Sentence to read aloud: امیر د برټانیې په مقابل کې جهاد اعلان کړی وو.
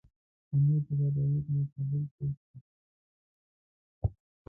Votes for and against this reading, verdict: 0, 2, rejected